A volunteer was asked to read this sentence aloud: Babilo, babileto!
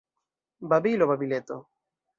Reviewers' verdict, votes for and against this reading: accepted, 2, 0